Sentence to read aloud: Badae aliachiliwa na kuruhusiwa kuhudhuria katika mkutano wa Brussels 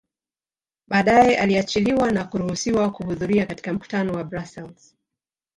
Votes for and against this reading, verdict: 0, 3, rejected